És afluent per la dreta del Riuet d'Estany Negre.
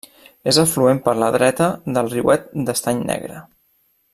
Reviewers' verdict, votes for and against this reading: accepted, 3, 0